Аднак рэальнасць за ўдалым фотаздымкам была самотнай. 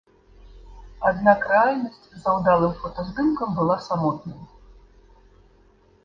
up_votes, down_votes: 3, 0